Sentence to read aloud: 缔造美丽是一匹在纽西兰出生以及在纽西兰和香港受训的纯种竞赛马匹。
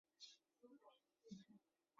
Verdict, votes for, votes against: rejected, 0, 2